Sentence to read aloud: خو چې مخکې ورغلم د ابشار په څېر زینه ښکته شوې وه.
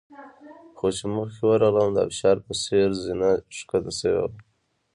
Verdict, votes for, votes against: rejected, 0, 2